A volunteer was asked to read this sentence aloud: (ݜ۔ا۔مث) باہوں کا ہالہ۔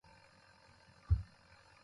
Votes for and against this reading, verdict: 0, 2, rejected